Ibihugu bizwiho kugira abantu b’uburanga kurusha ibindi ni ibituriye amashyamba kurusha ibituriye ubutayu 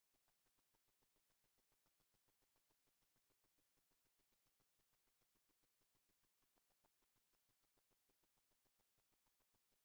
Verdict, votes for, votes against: rejected, 0, 2